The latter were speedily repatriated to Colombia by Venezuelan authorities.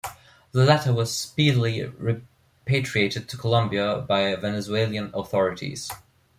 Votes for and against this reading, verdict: 2, 1, accepted